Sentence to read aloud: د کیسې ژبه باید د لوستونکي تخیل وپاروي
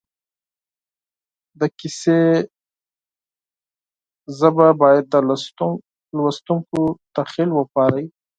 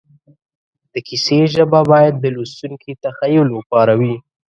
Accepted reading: second